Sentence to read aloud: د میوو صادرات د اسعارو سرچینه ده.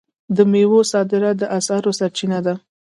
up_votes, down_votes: 2, 1